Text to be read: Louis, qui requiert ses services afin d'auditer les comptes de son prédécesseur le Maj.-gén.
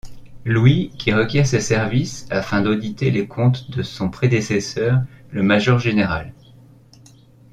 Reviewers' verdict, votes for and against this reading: accepted, 2, 1